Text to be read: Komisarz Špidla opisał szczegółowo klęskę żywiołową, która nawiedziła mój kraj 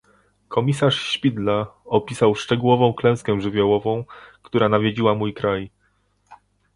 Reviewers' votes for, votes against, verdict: 1, 2, rejected